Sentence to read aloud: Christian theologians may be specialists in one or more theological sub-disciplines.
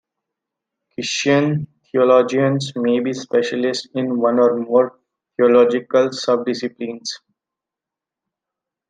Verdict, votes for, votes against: accepted, 2, 0